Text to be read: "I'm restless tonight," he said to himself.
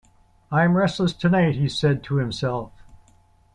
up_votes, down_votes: 2, 0